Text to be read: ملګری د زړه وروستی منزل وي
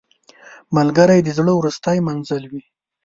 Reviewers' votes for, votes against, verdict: 2, 0, accepted